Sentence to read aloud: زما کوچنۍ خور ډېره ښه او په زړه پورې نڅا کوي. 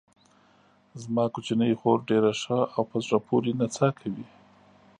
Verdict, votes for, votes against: accepted, 3, 0